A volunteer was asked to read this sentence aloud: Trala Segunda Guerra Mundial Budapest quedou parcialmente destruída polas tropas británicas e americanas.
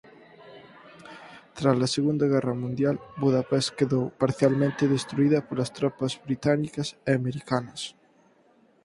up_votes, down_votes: 4, 2